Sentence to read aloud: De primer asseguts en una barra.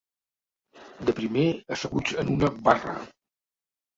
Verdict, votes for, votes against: rejected, 1, 2